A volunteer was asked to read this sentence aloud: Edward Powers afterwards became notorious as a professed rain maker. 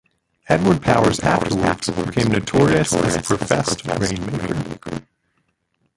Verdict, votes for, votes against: rejected, 0, 2